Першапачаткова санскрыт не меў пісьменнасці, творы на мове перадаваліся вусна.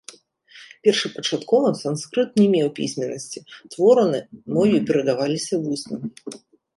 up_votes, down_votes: 1, 3